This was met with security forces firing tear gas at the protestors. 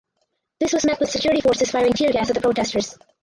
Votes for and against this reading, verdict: 0, 2, rejected